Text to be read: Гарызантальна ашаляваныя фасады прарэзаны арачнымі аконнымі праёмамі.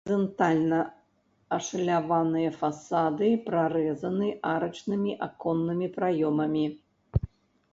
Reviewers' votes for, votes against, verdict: 0, 2, rejected